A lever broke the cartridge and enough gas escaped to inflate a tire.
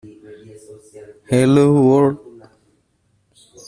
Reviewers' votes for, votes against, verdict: 0, 2, rejected